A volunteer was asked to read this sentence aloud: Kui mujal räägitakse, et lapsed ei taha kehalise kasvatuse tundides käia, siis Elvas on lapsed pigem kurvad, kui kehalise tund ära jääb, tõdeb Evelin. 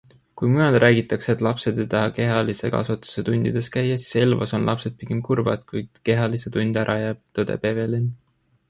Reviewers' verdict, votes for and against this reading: accepted, 2, 0